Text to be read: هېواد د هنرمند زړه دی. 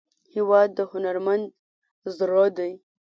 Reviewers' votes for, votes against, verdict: 2, 0, accepted